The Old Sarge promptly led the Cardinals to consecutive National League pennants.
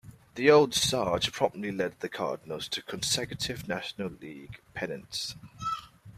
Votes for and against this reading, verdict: 2, 0, accepted